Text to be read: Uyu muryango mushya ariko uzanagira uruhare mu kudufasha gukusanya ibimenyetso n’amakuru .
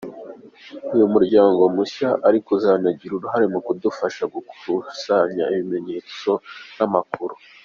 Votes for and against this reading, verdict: 3, 0, accepted